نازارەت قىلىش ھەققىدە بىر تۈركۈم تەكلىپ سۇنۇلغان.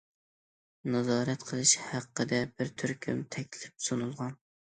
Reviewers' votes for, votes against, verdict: 2, 0, accepted